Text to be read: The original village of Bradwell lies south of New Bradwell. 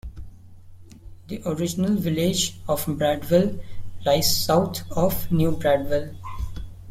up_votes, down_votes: 2, 3